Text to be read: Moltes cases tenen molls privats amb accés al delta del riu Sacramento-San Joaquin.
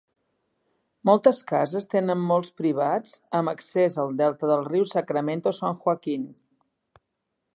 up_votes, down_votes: 1, 3